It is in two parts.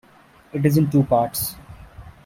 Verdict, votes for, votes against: accepted, 2, 0